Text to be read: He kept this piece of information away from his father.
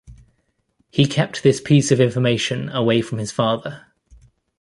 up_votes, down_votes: 2, 0